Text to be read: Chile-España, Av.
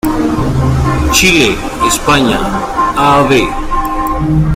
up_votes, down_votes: 1, 2